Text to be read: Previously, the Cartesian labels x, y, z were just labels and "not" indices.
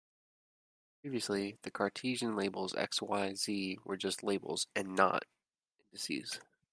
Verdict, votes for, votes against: accepted, 2, 1